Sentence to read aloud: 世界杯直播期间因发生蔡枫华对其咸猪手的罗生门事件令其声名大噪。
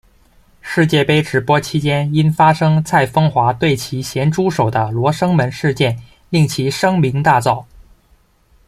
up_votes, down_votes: 2, 0